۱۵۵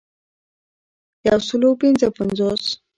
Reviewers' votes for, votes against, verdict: 0, 2, rejected